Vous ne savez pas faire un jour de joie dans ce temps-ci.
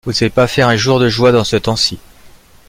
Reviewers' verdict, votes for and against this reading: accepted, 2, 1